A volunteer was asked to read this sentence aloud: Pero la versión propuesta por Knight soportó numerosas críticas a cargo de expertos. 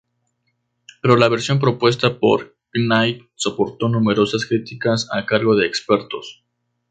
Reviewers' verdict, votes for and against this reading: accepted, 2, 0